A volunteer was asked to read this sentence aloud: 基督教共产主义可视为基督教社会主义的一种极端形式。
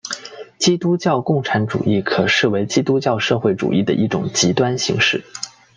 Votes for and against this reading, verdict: 2, 0, accepted